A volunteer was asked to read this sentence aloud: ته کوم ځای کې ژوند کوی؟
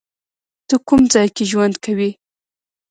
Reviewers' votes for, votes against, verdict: 2, 1, accepted